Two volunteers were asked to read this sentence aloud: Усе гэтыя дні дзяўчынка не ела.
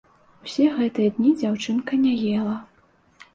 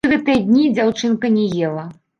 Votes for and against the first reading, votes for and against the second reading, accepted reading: 2, 0, 1, 2, first